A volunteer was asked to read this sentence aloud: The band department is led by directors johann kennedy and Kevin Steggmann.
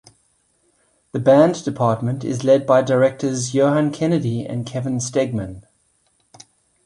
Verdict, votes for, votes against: accepted, 2, 0